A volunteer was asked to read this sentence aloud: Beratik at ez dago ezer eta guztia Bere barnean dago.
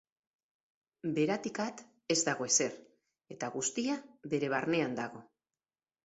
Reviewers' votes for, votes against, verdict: 4, 0, accepted